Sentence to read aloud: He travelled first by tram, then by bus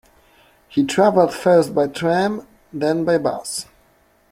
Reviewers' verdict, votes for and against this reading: accepted, 2, 0